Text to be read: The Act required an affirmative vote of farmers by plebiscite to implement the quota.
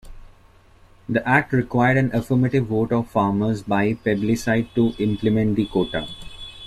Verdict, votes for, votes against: rejected, 0, 2